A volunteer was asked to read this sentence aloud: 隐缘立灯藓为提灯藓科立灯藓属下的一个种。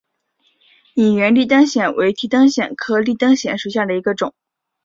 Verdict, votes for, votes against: accepted, 3, 1